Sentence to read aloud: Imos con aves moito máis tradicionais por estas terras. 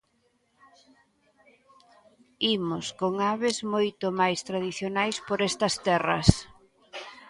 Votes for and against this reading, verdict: 1, 2, rejected